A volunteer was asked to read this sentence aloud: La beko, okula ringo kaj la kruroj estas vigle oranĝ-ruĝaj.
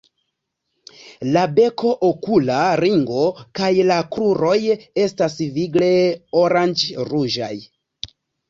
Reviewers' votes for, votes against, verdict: 2, 0, accepted